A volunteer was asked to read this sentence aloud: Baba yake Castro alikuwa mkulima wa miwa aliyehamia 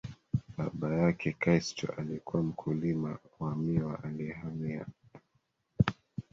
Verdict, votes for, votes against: accepted, 2, 1